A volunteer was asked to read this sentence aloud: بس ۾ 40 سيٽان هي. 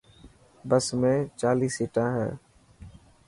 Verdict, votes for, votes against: rejected, 0, 2